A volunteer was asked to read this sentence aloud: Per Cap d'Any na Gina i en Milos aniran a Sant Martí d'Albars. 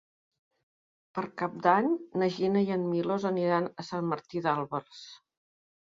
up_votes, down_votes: 1, 2